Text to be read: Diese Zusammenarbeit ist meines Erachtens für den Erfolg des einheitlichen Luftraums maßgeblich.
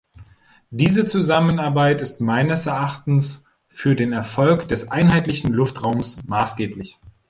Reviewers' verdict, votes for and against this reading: accepted, 3, 0